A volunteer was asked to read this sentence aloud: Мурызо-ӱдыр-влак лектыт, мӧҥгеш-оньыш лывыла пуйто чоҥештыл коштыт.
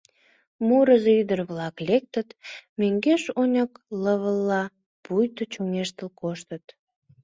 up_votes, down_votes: 1, 2